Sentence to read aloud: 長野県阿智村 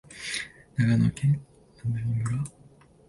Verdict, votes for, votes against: rejected, 0, 2